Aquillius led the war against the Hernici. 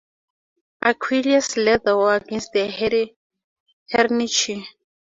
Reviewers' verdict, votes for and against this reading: rejected, 0, 2